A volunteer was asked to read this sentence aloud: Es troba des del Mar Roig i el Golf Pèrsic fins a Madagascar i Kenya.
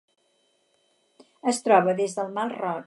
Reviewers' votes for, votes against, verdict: 0, 4, rejected